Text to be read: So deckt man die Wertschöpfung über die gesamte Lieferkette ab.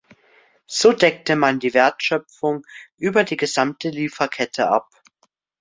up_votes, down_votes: 0, 2